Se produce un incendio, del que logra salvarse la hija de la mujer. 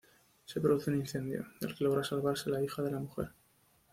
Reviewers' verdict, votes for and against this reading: rejected, 0, 2